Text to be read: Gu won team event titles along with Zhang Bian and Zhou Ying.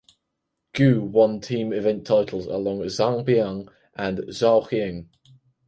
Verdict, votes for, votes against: accepted, 4, 0